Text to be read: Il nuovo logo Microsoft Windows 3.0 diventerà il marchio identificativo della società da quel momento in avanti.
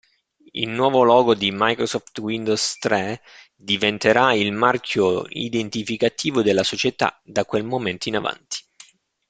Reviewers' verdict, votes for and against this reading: rejected, 0, 2